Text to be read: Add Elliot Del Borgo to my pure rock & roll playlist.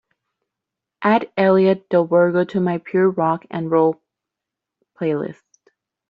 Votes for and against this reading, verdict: 2, 0, accepted